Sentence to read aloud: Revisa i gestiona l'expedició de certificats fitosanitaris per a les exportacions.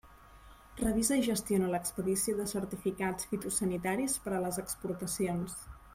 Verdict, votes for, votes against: accepted, 3, 0